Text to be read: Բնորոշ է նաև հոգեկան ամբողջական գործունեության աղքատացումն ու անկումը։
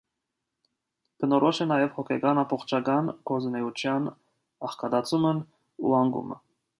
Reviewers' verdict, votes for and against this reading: accepted, 2, 0